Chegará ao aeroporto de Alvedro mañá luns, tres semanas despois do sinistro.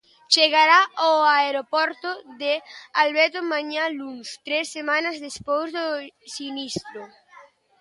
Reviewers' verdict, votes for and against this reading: accepted, 2, 0